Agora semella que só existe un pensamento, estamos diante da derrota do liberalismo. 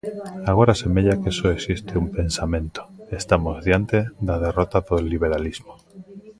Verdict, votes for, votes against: rejected, 1, 2